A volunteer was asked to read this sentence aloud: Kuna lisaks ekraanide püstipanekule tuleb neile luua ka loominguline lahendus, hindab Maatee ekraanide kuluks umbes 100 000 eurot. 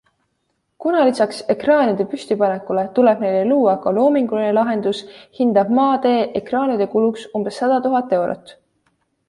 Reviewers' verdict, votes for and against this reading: rejected, 0, 2